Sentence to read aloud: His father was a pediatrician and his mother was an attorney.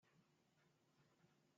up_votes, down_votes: 0, 2